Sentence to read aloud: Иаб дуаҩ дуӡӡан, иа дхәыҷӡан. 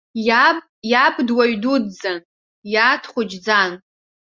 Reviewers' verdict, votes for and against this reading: rejected, 1, 2